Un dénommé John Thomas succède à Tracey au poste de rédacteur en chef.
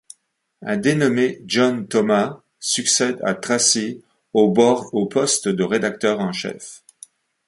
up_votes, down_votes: 1, 2